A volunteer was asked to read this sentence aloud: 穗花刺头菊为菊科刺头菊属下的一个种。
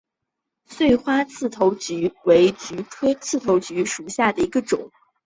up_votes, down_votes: 2, 0